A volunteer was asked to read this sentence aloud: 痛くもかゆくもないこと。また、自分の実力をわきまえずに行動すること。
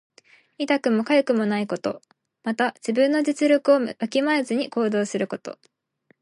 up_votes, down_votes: 2, 0